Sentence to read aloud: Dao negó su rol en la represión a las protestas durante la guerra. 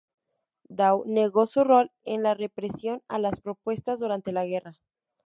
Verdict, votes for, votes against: rejected, 0, 2